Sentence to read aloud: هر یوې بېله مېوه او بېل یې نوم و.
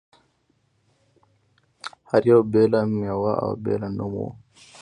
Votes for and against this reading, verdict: 3, 0, accepted